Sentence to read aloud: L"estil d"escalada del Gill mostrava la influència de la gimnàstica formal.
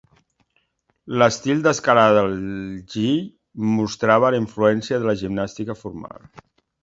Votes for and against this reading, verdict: 2, 1, accepted